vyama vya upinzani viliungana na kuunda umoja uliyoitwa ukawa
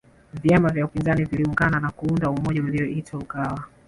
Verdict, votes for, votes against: rejected, 1, 2